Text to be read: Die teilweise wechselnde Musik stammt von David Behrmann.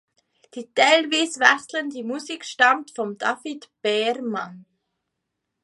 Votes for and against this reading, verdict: 1, 2, rejected